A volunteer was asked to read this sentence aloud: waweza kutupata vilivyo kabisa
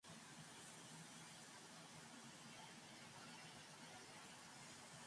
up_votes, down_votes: 1, 19